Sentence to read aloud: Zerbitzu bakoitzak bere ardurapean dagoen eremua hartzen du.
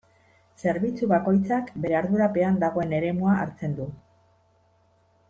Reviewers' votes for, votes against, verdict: 2, 0, accepted